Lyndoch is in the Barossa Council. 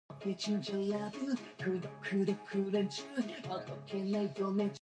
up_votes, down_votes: 0, 2